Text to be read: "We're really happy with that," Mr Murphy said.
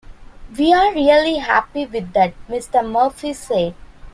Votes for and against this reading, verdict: 1, 2, rejected